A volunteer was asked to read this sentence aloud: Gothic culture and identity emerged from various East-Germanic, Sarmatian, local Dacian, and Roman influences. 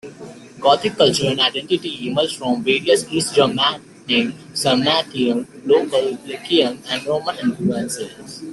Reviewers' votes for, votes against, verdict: 2, 0, accepted